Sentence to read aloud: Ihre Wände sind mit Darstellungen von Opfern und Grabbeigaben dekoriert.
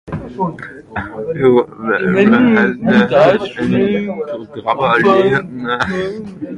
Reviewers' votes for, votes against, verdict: 0, 2, rejected